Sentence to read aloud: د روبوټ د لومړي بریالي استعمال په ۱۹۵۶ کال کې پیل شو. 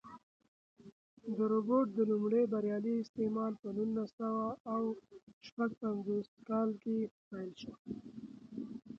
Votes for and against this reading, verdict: 0, 2, rejected